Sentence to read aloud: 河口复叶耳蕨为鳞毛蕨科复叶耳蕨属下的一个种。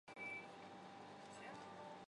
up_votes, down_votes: 1, 5